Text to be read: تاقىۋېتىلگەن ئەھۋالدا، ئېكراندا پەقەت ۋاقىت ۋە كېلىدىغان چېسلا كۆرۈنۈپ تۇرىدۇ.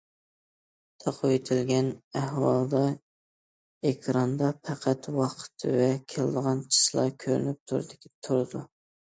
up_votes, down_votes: 1, 2